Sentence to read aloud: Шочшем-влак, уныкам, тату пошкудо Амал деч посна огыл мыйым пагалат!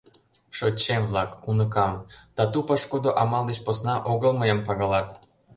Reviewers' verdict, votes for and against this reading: accepted, 2, 0